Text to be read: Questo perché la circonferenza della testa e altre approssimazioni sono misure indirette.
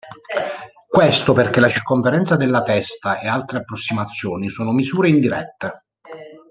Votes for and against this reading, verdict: 1, 2, rejected